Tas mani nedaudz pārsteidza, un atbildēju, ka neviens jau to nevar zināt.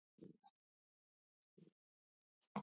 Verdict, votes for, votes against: rejected, 0, 2